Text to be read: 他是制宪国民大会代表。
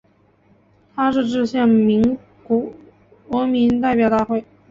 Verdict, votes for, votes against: rejected, 3, 6